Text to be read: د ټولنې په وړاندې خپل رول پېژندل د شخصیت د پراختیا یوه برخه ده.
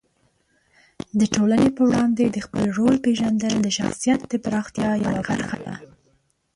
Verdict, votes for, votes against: rejected, 1, 2